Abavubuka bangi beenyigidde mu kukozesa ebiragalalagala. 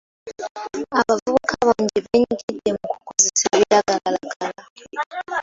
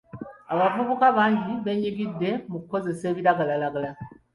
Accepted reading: second